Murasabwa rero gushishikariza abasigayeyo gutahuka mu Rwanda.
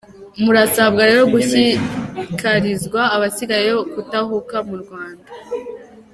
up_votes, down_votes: 1, 2